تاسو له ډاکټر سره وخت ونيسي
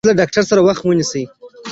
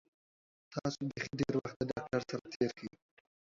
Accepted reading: first